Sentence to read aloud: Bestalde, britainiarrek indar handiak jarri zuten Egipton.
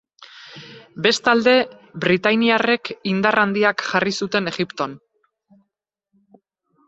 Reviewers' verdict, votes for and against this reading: rejected, 2, 2